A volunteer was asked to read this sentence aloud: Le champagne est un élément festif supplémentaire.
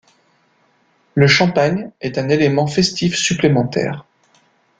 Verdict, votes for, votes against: accepted, 2, 0